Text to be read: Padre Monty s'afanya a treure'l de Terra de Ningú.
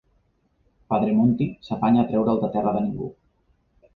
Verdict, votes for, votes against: accepted, 2, 0